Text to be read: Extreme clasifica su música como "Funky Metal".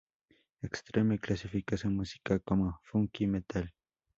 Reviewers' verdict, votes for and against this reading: accepted, 2, 0